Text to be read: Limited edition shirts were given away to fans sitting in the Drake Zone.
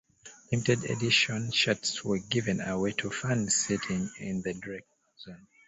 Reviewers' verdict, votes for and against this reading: rejected, 1, 2